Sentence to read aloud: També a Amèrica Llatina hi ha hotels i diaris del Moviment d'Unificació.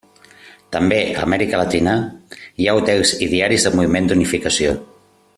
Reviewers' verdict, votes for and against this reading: rejected, 1, 2